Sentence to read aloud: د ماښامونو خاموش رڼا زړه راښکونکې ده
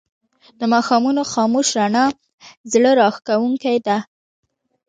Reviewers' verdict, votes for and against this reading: accepted, 2, 0